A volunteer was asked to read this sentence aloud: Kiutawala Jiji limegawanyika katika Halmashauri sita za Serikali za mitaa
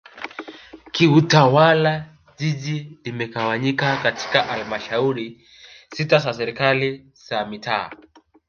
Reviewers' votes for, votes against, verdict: 2, 0, accepted